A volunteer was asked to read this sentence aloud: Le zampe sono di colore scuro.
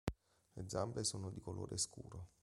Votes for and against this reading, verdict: 3, 0, accepted